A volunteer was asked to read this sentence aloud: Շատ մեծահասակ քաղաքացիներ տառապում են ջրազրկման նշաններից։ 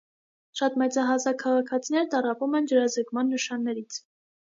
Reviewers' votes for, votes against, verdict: 2, 0, accepted